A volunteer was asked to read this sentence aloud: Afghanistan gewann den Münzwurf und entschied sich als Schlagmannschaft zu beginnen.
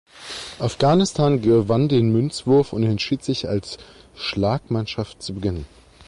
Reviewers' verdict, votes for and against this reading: accepted, 2, 0